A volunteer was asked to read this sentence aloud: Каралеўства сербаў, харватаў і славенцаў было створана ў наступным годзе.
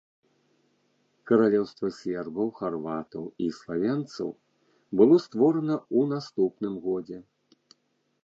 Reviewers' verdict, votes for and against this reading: rejected, 1, 2